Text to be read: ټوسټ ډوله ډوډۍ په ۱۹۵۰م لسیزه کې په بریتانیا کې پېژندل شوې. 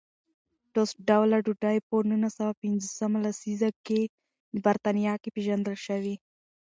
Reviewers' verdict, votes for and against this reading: rejected, 0, 2